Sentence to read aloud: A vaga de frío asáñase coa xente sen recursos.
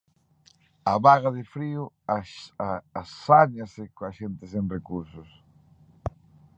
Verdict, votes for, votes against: rejected, 0, 2